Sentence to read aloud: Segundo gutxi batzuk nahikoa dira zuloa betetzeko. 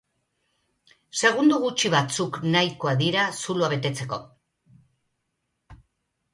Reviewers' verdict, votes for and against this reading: accepted, 3, 0